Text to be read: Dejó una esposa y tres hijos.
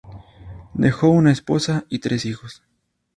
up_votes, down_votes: 2, 0